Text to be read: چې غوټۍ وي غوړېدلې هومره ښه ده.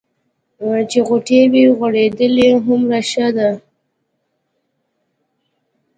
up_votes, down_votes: 3, 0